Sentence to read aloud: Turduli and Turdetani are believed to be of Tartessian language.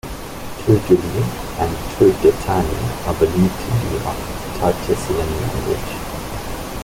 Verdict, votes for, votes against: rejected, 0, 2